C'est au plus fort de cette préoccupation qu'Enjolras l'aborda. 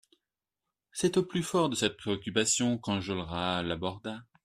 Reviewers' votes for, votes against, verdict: 2, 0, accepted